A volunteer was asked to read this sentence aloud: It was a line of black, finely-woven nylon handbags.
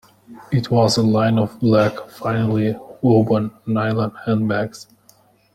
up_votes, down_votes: 0, 2